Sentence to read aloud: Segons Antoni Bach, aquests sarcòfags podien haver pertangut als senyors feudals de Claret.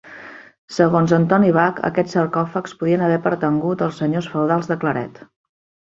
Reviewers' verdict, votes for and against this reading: accepted, 3, 0